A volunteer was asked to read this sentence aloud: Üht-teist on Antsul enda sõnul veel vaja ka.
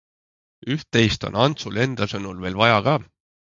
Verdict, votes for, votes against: accepted, 3, 0